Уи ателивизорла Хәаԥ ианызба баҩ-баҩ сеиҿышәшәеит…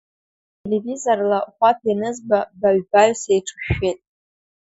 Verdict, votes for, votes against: accepted, 2, 1